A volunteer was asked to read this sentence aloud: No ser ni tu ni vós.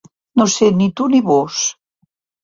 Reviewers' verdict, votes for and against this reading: accepted, 2, 0